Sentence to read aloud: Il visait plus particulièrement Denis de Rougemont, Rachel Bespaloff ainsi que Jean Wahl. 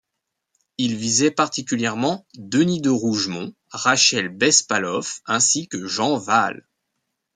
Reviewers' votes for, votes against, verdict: 0, 2, rejected